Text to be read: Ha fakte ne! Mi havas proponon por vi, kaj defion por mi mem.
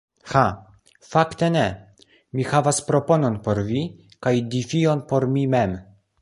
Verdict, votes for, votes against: accepted, 2, 0